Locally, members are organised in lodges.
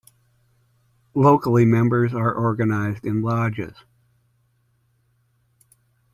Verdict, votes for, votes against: accepted, 2, 0